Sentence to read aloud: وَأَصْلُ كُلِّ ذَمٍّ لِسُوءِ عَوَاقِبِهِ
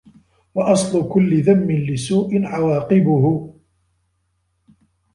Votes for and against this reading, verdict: 2, 1, accepted